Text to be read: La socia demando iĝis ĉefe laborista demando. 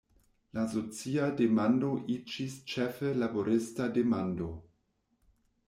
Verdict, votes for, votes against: rejected, 1, 2